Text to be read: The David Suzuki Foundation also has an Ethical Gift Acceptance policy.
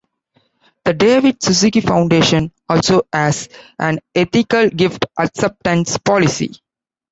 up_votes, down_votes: 2, 0